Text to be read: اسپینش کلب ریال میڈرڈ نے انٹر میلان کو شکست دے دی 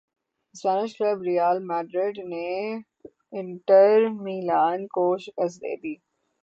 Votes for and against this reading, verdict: 6, 0, accepted